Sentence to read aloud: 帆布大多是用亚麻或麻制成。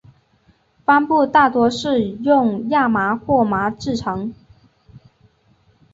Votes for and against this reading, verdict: 4, 0, accepted